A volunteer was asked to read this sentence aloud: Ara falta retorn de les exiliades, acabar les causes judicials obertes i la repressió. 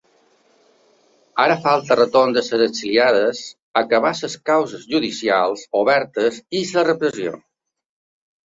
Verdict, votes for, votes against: rejected, 0, 2